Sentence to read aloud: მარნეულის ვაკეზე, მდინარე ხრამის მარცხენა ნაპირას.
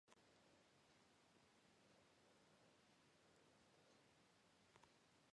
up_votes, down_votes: 0, 2